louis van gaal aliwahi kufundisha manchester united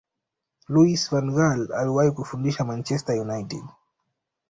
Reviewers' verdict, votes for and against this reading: accepted, 2, 0